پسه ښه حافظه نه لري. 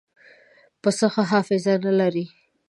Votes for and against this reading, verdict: 2, 0, accepted